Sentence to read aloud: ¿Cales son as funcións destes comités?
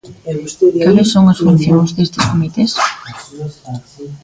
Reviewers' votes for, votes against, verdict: 0, 2, rejected